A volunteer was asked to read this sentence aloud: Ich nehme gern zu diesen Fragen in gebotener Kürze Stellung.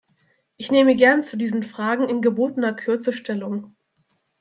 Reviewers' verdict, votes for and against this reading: accepted, 2, 0